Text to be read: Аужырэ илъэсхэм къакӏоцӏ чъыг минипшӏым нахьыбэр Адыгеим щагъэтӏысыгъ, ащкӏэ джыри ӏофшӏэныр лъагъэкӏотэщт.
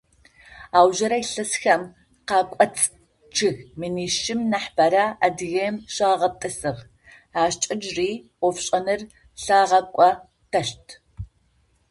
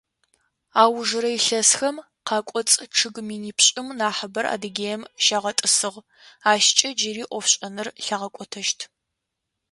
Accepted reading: second